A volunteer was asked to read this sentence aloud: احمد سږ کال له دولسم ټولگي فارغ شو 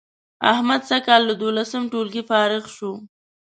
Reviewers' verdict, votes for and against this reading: accepted, 2, 0